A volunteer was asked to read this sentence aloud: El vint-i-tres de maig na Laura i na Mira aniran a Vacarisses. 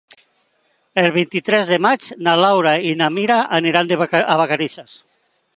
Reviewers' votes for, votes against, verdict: 0, 3, rejected